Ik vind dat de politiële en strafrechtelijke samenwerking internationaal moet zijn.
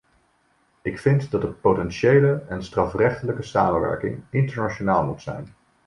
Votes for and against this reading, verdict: 1, 2, rejected